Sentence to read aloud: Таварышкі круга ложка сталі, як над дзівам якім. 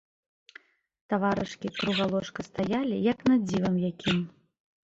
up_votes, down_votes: 2, 0